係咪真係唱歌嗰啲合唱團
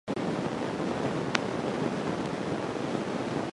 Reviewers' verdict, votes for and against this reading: rejected, 0, 2